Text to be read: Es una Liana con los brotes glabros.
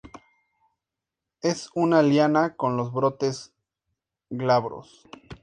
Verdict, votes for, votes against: accepted, 2, 0